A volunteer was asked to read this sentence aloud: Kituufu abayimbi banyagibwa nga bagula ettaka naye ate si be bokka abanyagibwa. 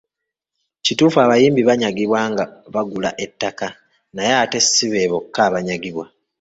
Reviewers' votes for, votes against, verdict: 1, 2, rejected